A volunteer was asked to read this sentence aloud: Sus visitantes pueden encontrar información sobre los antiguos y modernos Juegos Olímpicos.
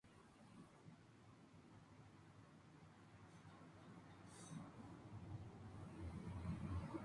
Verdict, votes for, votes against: rejected, 0, 2